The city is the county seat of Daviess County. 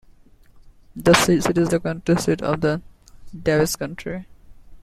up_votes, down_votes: 0, 2